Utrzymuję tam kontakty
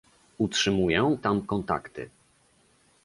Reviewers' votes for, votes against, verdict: 2, 0, accepted